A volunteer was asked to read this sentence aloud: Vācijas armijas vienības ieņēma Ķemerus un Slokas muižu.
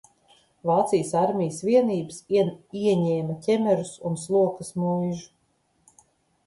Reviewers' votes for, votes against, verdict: 1, 2, rejected